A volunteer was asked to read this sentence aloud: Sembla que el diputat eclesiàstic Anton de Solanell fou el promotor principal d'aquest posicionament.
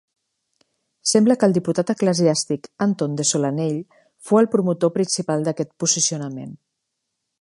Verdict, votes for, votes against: accepted, 2, 0